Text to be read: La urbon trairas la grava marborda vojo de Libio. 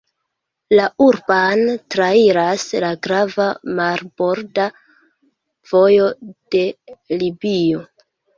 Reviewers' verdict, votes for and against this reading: rejected, 0, 2